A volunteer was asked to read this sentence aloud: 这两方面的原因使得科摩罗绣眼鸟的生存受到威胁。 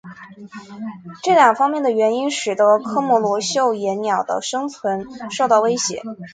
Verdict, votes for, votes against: accepted, 4, 0